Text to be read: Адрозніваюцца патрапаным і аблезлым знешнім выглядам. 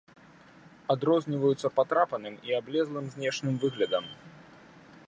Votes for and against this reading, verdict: 2, 1, accepted